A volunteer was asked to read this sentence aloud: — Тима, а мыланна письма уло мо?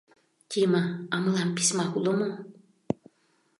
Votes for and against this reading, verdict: 0, 2, rejected